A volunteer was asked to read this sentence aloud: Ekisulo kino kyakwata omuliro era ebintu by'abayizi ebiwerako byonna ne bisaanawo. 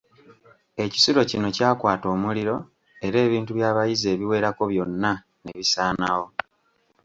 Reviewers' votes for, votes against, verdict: 3, 0, accepted